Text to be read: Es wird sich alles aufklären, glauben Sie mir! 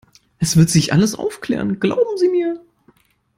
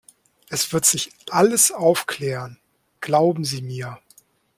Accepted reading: second